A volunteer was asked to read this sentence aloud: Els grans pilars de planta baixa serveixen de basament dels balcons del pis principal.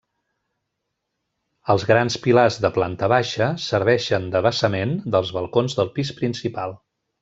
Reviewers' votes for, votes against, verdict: 2, 1, accepted